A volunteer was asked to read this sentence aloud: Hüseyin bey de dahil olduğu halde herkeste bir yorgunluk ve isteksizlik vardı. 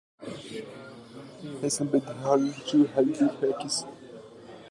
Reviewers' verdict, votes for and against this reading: rejected, 0, 2